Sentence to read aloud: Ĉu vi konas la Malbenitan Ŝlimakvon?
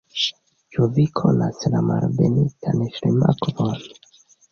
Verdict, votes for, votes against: rejected, 1, 2